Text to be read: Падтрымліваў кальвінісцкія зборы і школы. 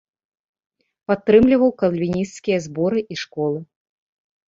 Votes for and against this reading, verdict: 1, 2, rejected